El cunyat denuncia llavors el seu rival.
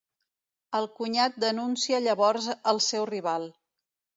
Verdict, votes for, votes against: rejected, 1, 2